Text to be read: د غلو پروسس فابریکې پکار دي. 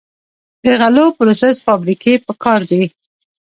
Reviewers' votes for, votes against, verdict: 2, 1, accepted